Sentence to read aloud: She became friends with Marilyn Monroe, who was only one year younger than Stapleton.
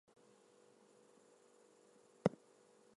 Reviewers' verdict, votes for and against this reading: rejected, 0, 4